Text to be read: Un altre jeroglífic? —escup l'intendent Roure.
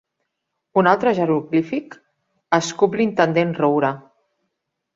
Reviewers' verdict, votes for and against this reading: accepted, 2, 0